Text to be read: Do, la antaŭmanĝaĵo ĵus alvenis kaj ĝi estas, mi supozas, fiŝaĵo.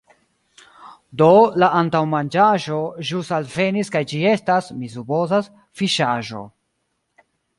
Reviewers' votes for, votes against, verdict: 2, 0, accepted